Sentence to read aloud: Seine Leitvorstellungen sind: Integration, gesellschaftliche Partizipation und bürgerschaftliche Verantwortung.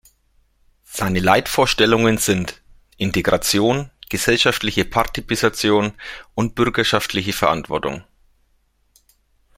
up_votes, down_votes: 0, 2